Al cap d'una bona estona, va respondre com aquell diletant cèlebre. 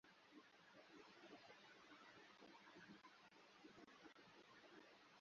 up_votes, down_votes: 0, 2